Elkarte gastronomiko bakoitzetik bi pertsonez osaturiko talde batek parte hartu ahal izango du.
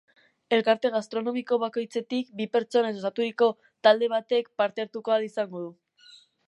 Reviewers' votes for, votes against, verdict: 10, 0, accepted